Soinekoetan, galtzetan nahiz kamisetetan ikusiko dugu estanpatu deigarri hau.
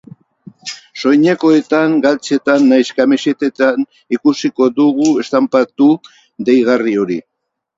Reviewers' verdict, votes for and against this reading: rejected, 0, 4